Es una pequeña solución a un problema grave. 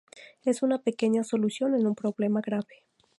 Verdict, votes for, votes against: rejected, 0, 2